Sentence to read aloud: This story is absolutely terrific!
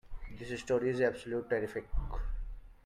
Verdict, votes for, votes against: rejected, 0, 2